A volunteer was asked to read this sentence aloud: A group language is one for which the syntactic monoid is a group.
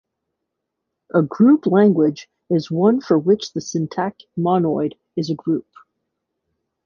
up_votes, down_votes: 1, 2